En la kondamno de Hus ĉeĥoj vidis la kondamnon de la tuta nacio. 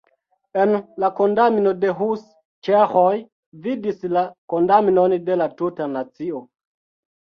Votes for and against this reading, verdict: 2, 1, accepted